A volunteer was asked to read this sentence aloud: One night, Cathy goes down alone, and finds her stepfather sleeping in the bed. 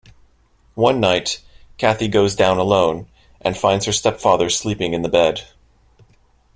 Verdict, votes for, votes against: accepted, 2, 0